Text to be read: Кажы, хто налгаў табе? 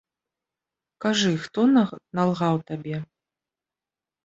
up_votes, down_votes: 1, 2